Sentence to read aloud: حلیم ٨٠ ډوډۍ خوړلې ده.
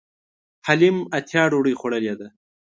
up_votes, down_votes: 0, 2